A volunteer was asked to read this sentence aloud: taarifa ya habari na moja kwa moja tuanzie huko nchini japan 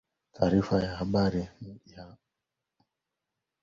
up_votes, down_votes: 0, 3